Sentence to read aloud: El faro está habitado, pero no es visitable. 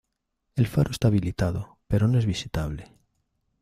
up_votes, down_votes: 0, 2